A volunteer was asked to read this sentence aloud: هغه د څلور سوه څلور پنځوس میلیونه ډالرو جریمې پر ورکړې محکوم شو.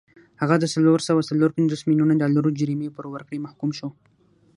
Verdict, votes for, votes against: accepted, 3, 0